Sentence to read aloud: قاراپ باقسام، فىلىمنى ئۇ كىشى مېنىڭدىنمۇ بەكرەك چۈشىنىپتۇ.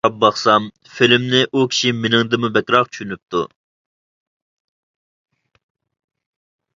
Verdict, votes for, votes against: rejected, 0, 2